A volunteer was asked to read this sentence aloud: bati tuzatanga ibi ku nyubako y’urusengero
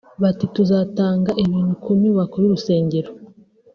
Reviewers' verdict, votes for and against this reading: rejected, 1, 2